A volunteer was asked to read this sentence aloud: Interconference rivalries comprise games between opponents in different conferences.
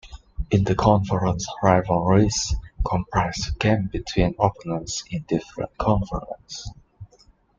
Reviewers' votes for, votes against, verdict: 0, 2, rejected